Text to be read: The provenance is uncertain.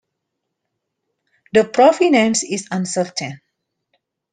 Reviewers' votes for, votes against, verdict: 2, 0, accepted